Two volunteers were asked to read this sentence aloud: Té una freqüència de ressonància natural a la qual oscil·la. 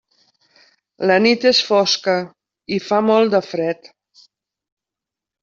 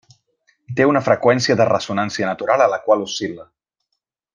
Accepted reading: second